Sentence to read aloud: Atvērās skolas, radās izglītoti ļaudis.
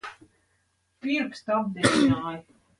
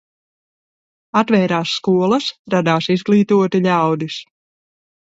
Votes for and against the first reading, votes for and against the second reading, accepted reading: 0, 2, 2, 0, second